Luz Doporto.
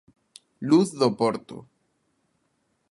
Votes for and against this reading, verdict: 2, 0, accepted